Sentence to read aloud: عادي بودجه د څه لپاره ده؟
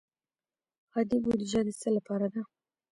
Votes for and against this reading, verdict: 1, 2, rejected